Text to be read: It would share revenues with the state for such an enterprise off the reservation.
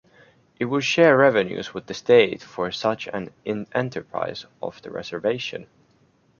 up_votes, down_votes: 2, 0